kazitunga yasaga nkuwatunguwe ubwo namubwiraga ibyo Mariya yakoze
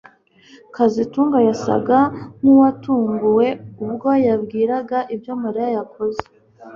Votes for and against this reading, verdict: 1, 2, rejected